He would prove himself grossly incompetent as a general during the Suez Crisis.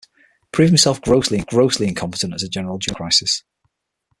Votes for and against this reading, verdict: 0, 6, rejected